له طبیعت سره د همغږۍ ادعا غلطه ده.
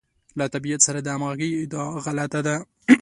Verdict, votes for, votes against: accepted, 2, 0